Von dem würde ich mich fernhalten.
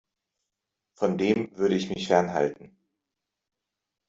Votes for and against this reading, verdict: 2, 0, accepted